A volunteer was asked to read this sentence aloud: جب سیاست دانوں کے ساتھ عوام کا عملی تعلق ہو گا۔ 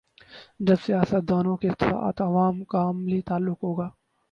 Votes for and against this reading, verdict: 0, 2, rejected